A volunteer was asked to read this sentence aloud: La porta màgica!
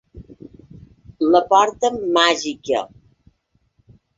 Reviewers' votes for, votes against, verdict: 2, 0, accepted